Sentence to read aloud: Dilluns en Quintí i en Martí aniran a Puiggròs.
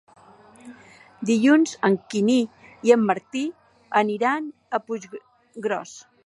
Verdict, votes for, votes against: rejected, 0, 2